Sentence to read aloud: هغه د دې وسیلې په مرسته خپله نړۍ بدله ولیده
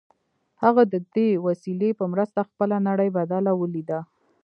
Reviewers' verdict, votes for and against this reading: rejected, 1, 2